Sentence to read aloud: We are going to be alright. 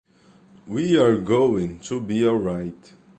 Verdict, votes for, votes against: accepted, 2, 0